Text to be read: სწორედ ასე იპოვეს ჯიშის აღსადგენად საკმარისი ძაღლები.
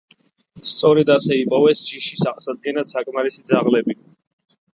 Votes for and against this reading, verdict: 2, 0, accepted